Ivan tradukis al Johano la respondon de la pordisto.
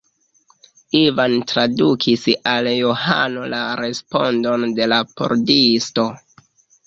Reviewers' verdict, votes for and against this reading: accepted, 2, 0